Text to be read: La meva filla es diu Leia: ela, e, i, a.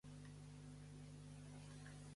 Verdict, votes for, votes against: rejected, 0, 2